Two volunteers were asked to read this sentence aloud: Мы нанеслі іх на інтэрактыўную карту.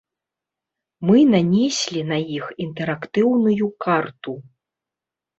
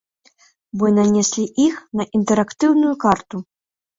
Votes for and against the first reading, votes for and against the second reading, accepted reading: 0, 2, 2, 0, second